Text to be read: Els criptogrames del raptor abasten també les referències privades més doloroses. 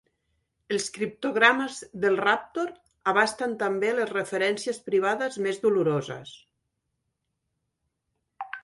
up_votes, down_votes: 1, 2